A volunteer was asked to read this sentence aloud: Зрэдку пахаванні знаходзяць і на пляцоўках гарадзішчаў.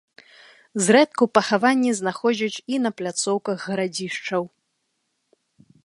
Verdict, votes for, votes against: accepted, 2, 0